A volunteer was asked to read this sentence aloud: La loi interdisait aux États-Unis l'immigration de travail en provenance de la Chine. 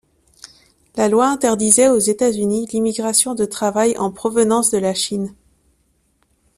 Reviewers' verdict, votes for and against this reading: accepted, 2, 0